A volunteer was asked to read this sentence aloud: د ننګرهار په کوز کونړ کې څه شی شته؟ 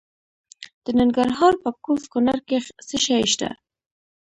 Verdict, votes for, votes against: rejected, 0, 2